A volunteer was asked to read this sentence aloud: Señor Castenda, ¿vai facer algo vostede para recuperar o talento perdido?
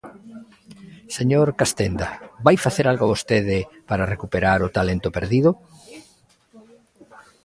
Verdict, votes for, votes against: accepted, 2, 1